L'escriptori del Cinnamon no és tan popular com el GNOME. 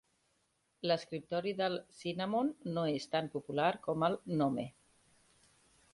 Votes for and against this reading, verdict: 2, 0, accepted